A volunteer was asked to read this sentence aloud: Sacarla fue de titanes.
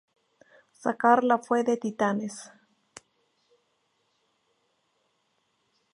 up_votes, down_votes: 2, 0